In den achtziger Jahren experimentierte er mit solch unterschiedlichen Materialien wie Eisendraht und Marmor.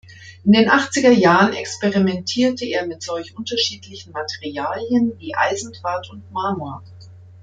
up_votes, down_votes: 2, 0